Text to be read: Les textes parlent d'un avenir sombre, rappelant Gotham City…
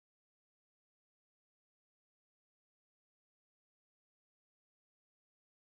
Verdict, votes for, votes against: rejected, 0, 3